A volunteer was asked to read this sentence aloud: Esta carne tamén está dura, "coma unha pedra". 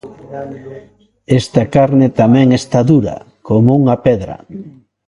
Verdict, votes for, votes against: rejected, 1, 2